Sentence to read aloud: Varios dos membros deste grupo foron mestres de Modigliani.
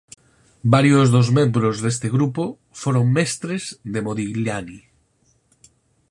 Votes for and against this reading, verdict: 4, 0, accepted